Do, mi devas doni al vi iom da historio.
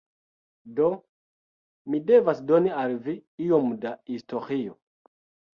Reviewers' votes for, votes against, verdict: 1, 2, rejected